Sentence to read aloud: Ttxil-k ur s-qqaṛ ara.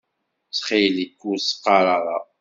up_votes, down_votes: 2, 0